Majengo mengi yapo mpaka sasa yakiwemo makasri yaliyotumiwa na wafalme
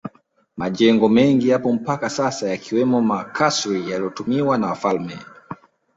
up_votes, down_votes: 2, 0